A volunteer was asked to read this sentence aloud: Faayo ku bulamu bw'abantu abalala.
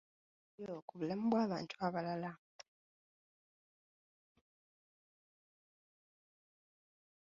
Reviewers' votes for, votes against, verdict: 0, 2, rejected